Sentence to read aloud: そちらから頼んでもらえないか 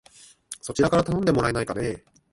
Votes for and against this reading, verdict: 1, 3, rejected